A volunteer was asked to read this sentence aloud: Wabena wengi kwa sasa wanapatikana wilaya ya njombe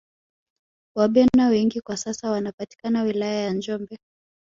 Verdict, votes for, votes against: rejected, 1, 2